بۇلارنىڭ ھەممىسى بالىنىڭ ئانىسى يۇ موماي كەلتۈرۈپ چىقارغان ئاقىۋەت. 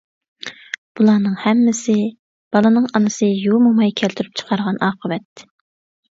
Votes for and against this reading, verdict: 2, 0, accepted